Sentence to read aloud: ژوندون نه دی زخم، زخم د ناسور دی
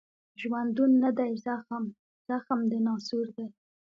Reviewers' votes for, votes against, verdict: 0, 2, rejected